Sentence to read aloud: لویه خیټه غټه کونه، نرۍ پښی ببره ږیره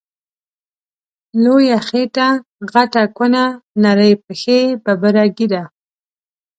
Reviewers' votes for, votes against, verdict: 1, 2, rejected